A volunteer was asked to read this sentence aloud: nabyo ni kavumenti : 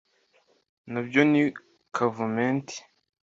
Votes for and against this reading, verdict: 2, 0, accepted